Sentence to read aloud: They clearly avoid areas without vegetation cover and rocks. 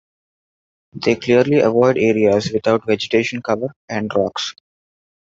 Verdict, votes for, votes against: accepted, 2, 0